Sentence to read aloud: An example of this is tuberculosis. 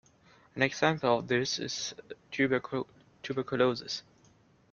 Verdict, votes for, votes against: rejected, 0, 2